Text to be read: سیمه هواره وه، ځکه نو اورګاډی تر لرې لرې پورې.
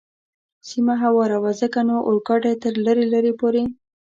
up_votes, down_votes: 2, 0